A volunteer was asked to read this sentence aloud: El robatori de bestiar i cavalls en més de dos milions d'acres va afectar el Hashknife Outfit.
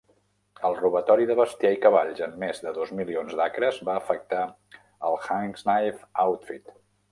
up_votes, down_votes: 0, 2